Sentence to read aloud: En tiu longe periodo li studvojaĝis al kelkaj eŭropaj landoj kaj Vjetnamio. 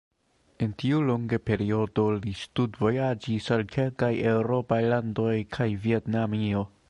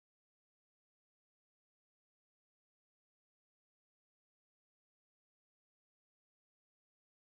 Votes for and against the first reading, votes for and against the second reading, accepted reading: 3, 2, 0, 2, first